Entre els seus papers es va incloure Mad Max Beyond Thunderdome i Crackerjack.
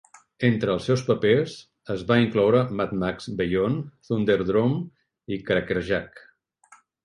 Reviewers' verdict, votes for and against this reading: rejected, 1, 2